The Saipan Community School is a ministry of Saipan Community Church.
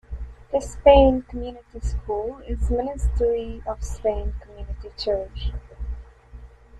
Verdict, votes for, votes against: rejected, 0, 2